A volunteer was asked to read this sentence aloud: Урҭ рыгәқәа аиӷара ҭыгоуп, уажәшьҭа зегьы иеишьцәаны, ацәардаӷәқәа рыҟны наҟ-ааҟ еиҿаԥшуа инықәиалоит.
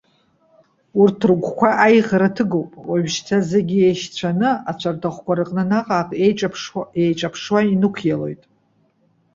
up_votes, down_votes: 0, 2